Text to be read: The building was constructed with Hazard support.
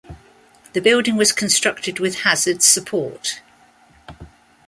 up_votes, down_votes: 2, 0